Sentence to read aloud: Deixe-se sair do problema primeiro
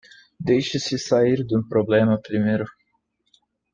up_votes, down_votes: 1, 2